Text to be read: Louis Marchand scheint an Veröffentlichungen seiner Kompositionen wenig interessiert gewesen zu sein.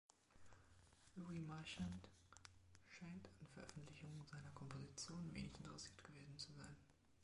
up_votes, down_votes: 0, 2